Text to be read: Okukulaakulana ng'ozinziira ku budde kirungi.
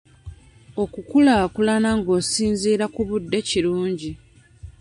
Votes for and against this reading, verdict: 0, 2, rejected